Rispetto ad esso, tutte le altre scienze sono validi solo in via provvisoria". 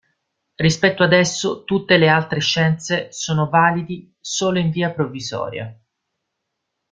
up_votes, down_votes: 1, 2